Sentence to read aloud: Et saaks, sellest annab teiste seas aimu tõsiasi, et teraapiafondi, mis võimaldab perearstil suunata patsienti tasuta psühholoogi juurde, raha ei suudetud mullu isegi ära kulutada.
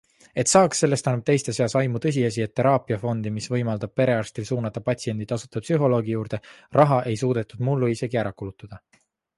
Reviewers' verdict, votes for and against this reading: accepted, 3, 0